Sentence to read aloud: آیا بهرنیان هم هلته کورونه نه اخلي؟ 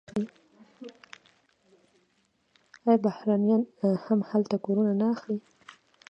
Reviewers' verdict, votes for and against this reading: rejected, 1, 2